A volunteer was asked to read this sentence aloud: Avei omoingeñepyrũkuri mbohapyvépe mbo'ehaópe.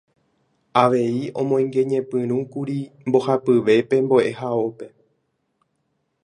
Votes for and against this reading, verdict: 2, 0, accepted